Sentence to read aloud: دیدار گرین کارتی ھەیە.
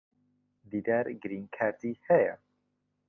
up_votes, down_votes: 2, 0